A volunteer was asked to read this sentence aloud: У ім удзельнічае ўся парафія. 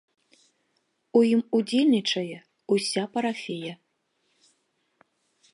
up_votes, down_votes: 1, 2